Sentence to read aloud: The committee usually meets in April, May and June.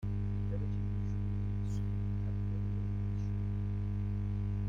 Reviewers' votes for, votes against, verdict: 0, 2, rejected